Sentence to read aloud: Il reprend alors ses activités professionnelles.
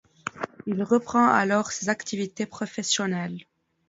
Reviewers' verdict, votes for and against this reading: accepted, 2, 0